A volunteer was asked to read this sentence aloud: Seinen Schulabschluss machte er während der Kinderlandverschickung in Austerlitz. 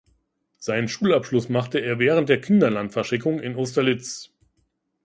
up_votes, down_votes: 0, 2